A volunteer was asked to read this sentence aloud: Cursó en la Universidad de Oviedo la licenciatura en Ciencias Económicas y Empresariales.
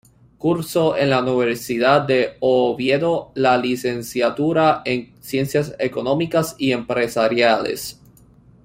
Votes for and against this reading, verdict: 0, 2, rejected